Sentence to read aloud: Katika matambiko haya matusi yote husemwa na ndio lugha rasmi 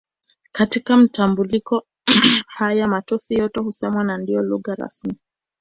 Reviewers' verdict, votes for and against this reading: rejected, 0, 2